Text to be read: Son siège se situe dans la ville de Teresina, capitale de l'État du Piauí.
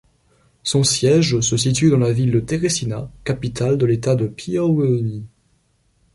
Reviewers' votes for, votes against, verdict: 2, 0, accepted